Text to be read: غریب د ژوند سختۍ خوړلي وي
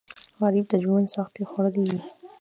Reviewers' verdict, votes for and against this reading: rejected, 0, 2